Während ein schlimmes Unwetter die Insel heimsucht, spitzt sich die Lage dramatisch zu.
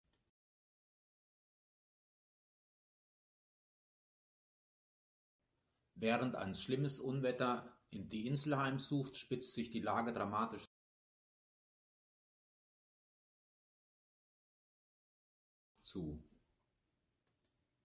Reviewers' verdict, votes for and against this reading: rejected, 1, 2